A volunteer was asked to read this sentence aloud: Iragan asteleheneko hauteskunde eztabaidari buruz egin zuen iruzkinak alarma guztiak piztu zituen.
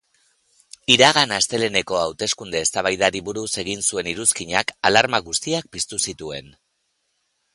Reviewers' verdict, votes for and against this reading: accepted, 3, 0